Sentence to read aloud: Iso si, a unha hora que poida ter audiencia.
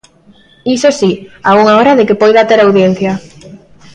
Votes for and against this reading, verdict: 0, 2, rejected